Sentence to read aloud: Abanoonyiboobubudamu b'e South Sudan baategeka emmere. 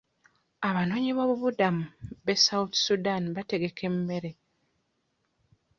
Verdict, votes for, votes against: rejected, 0, 2